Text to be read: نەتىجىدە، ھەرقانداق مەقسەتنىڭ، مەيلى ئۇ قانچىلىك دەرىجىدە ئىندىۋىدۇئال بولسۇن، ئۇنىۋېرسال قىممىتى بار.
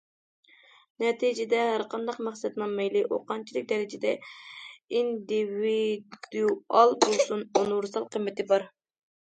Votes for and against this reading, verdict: 0, 2, rejected